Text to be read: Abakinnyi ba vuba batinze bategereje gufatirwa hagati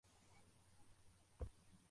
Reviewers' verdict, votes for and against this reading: rejected, 0, 2